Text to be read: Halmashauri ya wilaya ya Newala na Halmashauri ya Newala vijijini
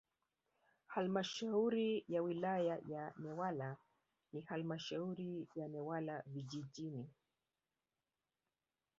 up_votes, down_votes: 2, 1